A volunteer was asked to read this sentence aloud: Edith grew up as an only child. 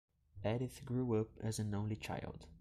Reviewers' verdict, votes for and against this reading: rejected, 0, 2